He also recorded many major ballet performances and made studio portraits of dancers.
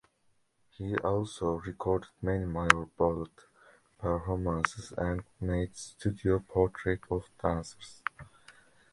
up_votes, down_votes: 2, 3